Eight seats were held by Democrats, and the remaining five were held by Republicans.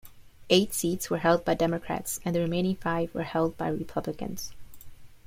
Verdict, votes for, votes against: accepted, 2, 0